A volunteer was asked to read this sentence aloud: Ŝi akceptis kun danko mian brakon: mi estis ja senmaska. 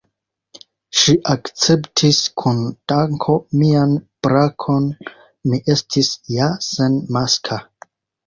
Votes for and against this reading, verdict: 2, 1, accepted